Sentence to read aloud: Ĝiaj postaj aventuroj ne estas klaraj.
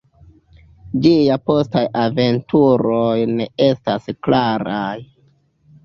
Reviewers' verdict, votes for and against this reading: rejected, 0, 2